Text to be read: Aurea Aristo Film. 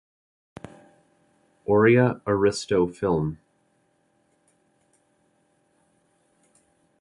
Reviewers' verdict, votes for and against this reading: accepted, 2, 0